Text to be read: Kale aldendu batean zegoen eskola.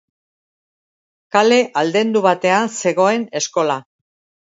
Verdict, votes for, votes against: accepted, 2, 0